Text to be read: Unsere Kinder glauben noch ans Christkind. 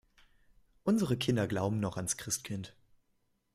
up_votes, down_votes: 2, 0